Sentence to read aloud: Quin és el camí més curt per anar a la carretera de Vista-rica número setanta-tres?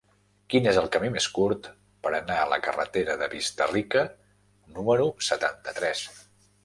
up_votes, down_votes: 2, 0